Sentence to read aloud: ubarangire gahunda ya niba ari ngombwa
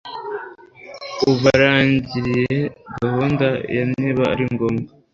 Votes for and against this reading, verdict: 1, 2, rejected